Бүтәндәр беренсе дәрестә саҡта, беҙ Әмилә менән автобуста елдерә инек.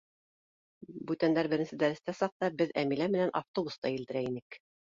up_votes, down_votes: 2, 0